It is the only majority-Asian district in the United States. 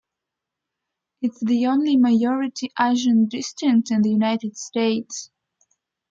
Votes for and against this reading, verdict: 1, 2, rejected